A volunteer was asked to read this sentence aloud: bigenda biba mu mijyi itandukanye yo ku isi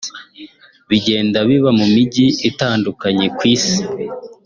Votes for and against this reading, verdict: 0, 2, rejected